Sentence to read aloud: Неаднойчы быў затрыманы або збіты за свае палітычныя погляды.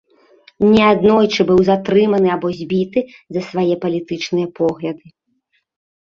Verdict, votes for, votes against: rejected, 1, 2